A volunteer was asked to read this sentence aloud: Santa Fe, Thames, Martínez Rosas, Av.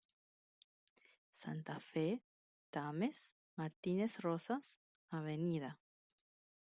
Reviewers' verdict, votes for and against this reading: accepted, 2, 1